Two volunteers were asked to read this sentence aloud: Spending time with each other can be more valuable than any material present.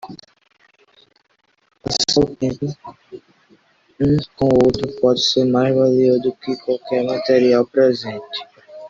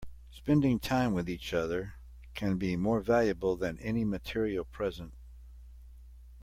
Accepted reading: second